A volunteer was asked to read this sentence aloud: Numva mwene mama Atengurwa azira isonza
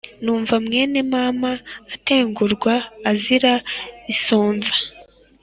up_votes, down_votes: 2, 0